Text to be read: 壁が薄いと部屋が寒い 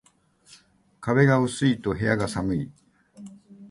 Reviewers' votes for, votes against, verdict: 2, 0, accepted